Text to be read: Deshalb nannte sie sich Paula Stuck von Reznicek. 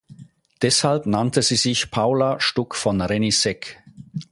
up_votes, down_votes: 0, 4